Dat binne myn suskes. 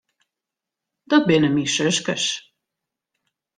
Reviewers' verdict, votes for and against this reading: accepted, 2, 0